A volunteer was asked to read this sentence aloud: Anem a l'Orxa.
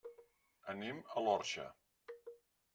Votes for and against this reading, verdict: 1, 2, rejected